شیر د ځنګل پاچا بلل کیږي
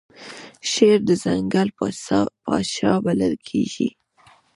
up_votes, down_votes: 1, 2